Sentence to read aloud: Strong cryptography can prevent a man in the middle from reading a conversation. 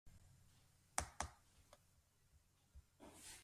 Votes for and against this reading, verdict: 1, 2, rejected